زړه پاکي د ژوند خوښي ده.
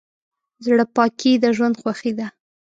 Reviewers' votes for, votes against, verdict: 2, 0, accepted